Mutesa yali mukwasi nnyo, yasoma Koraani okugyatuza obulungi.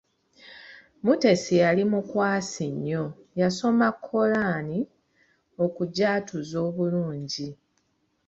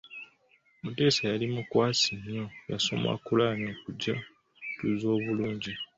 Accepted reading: second